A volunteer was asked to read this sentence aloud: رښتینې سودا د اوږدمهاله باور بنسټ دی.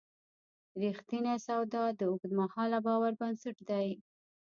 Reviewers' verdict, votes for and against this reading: rejected, 1, 2